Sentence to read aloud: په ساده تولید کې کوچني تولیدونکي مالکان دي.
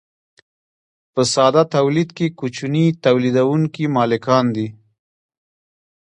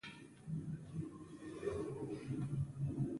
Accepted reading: first